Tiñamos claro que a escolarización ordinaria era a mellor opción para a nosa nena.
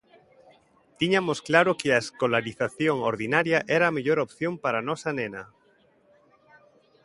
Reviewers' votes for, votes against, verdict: 2, 1, accepted